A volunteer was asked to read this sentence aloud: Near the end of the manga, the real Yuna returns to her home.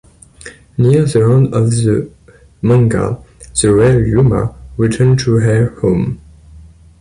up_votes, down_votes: 2, 0